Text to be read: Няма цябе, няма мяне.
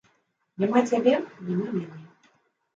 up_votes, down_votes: 0, 2